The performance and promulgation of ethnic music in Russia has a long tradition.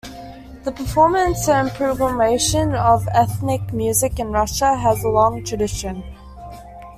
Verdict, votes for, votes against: rejected, 1, 2